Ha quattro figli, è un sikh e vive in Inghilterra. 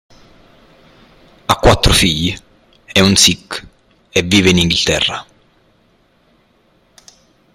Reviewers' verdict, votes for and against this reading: accepted, 2, 0